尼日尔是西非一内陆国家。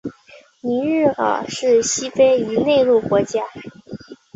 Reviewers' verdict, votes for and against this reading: accepted, 2, 1